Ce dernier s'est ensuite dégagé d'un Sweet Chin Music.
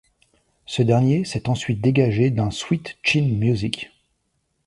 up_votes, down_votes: 2, 1